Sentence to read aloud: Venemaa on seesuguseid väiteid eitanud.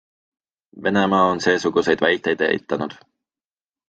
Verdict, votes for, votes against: accepted, 2, 0